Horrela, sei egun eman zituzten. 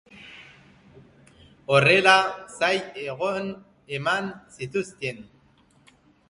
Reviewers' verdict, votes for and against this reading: rejected, 0, 2